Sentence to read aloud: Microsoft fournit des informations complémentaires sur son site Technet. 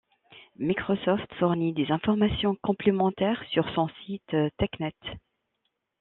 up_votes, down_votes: 2, 1